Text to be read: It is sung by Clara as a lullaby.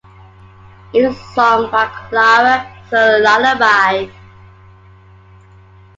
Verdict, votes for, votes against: rejected, 0, 2